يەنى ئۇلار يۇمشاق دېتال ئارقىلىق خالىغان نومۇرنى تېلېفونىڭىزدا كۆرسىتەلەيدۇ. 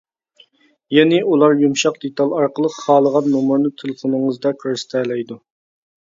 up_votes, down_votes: 2, 0